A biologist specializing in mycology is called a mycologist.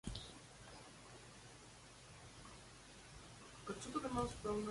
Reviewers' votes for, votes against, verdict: 0, 2, rejected